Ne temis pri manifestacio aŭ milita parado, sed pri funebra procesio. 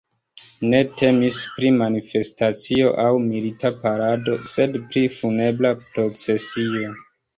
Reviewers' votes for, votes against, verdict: 2, 0, accepted